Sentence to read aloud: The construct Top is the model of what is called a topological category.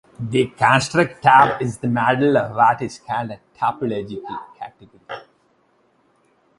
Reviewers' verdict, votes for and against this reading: rejected, 0, 2